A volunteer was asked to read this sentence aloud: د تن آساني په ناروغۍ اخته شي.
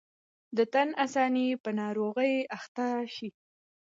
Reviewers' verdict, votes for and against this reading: accepted, 2, 0